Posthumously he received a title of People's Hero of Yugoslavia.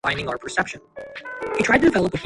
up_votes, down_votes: 0, 3